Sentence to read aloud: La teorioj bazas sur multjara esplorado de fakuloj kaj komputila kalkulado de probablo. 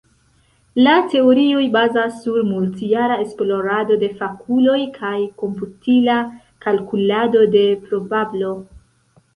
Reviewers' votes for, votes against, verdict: 1, 2, rejected